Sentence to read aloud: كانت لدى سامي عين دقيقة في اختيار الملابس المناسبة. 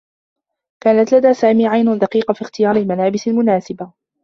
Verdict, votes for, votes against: rejected, 1, 2